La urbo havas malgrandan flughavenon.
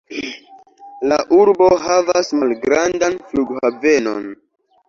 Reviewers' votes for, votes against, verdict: 0, 2, rejected